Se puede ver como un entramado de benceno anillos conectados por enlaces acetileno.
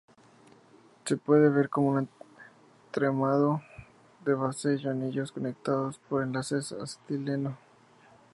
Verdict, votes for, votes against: accepted, 2, 0